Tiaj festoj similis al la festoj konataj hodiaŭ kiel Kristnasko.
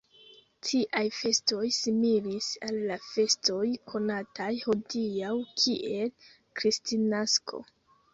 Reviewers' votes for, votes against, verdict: 0, 2, rejected